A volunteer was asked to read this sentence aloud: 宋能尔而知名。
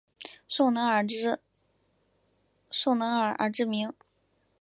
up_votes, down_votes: 1, 3